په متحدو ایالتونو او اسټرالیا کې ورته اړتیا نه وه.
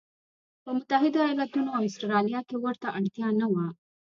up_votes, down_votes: 2, 0